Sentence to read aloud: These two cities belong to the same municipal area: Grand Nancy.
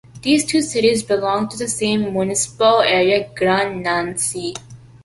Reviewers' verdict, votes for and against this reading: rejected, 0, 2